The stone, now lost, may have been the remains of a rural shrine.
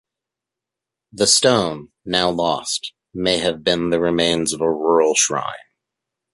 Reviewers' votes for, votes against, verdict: 2, 1, accepted